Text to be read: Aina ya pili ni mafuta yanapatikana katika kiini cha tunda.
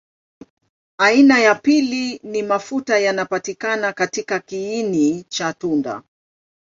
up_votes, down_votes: 2, 1